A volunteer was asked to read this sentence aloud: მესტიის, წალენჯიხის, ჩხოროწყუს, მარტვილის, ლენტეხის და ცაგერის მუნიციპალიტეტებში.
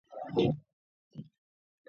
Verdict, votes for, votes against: rejected, 0, 2